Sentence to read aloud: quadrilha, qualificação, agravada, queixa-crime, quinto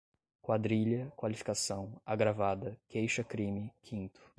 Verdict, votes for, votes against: accepted, 2, 0